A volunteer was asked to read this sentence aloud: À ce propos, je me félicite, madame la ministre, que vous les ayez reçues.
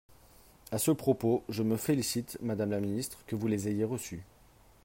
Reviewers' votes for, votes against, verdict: 3, 0, accepted